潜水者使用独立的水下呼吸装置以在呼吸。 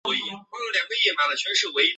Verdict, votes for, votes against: rejected, 0, 4